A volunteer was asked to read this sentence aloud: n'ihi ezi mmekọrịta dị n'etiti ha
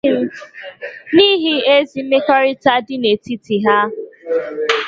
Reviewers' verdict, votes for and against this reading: rejected, 0, 2